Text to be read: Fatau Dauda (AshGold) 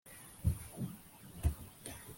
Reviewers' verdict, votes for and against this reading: rejected, 0, 2